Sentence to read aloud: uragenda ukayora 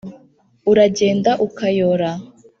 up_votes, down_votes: 2, 0